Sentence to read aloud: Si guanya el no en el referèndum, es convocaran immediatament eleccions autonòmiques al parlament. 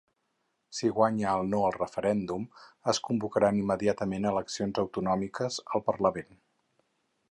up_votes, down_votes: 0, 4